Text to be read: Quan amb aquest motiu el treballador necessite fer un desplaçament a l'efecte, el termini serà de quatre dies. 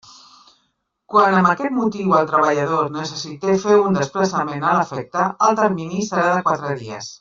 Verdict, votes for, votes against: rejected, 0, 2